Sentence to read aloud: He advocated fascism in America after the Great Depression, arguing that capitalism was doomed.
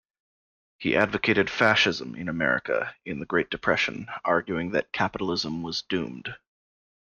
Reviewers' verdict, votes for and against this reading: rejected, 1, 2